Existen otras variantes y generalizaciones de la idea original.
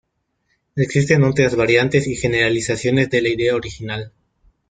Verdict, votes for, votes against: rejected, 1, 2